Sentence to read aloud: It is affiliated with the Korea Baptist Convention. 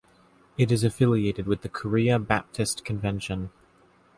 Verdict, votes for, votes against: accepted, 2, 0